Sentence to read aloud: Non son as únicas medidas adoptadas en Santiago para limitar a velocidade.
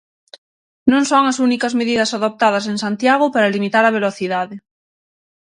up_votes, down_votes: 6, 0